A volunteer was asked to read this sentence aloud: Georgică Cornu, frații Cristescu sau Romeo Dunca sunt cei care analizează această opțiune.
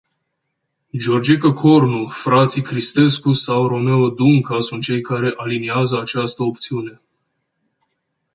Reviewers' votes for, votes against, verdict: 2, 0, accepted